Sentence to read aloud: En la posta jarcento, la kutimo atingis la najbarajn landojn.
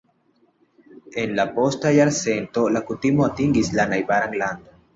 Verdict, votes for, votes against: rejected, 1, 2